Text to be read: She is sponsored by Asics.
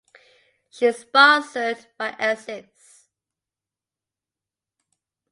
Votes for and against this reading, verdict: 2, 0, accepted